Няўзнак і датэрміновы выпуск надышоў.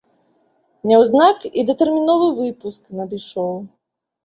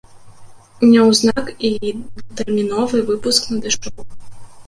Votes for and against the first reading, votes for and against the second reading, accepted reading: 2, 0, 0, 2, first